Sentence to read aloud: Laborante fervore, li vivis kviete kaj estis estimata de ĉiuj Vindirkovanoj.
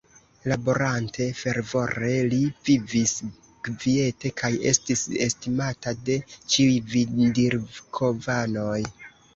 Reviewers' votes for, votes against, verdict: 0, 2, rejected